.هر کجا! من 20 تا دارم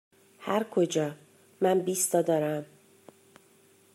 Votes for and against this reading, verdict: 0, 2, rejected